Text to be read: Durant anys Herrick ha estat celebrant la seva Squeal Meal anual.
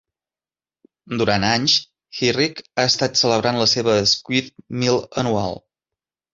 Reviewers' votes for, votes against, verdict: 1, 2, rejected